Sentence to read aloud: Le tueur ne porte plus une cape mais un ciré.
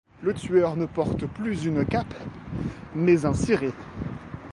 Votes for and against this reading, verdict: 2, 0, accepted